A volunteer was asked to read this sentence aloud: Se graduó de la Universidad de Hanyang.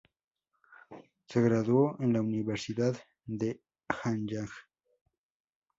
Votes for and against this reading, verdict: 2, 0, accepted